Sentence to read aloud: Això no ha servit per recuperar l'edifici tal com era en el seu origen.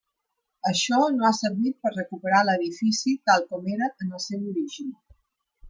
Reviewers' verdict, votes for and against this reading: accepted, 3, 0